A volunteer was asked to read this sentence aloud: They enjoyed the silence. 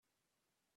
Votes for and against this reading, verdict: 0, 2, rejected